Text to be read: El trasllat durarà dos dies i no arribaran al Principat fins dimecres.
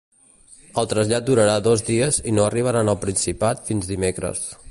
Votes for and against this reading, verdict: 2, 0, accepted